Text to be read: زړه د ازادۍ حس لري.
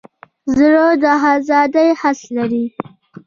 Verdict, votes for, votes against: accepted, 2, 0